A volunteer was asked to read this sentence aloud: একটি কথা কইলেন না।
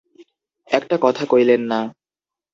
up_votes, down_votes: 0, 2